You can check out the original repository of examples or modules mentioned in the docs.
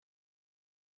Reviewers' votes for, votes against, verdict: 0, 2, rejected